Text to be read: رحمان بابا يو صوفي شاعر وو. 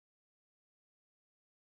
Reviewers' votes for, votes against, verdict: 1, 2, rejected